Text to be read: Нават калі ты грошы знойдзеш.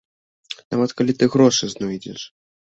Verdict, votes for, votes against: accepted, 2, 0